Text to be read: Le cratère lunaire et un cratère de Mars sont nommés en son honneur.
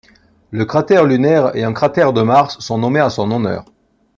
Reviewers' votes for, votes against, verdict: 2, 0, accepted